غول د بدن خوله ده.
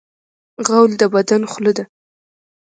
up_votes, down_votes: 1, 2